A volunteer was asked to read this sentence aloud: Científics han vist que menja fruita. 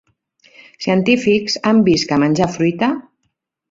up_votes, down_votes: 0, 2